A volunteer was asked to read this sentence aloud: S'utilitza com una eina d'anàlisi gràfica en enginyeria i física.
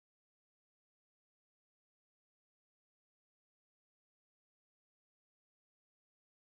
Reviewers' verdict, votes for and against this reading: rejected, 0, 2